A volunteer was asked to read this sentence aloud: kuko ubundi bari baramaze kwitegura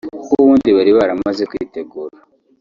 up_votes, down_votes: 0, 2